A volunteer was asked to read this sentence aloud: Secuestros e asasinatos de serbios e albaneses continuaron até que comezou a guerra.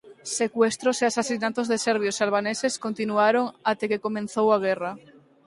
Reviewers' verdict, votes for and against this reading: rejected, 0, 4